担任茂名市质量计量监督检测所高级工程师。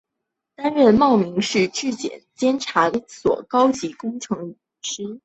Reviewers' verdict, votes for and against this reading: rejected, 2, 4